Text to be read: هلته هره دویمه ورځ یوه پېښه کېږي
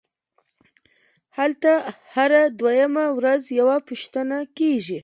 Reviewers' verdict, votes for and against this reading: rejected, 1, 2